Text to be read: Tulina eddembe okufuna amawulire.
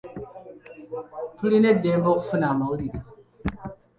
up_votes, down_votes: 2, 0